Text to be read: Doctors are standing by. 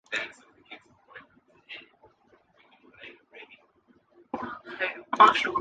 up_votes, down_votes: 0, 2